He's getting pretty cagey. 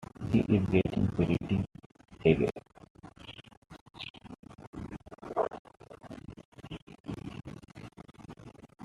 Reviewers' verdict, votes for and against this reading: rejected, 1, 2